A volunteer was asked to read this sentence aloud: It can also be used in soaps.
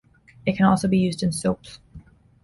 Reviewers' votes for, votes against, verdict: 2, 0, accepted